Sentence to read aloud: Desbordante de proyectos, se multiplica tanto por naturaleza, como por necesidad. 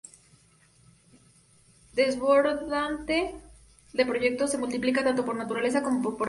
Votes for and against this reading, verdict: 0, 2, rejected